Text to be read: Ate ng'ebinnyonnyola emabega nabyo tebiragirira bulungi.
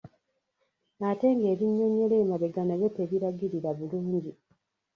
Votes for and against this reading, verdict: 0, 2, rejected